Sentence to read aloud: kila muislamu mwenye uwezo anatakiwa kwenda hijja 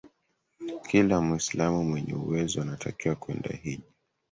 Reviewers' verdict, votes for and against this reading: accepted, 3, 1